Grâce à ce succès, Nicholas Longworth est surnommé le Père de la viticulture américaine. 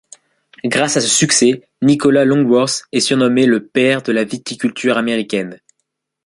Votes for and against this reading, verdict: 3, 1, accepted